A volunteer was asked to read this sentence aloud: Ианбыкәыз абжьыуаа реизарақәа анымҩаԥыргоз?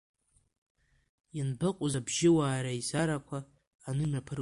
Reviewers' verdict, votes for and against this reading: rejected, 0, 2